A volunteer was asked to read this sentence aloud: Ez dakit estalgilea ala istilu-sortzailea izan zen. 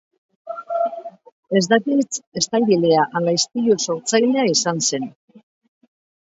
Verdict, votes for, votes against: accepted, 2, 1